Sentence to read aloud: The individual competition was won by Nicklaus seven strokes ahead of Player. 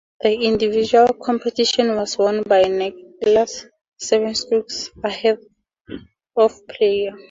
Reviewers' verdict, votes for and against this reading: accepted, 2, 0